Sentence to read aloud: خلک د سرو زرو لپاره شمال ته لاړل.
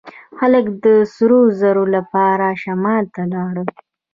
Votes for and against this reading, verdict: 1, 2, rejected